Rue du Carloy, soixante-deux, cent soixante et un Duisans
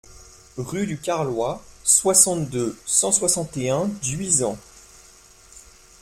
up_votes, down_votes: 2, 0